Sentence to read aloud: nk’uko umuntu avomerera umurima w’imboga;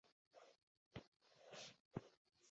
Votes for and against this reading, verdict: 0, 2, rejected